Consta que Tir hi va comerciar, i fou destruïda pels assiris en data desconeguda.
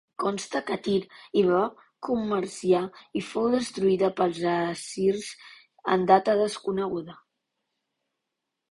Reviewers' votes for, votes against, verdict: 0, 2, rejected